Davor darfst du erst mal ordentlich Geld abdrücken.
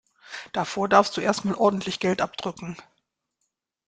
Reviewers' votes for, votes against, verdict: 2, 0, accepted